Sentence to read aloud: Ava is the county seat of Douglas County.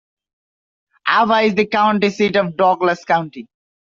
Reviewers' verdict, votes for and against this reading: accepted, 2, 0